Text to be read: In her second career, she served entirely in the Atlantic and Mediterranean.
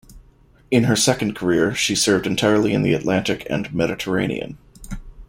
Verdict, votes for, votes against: accepted, 2, 0